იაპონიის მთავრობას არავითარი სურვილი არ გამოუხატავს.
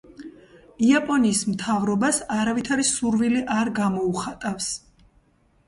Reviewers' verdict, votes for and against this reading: accepted, 2, 0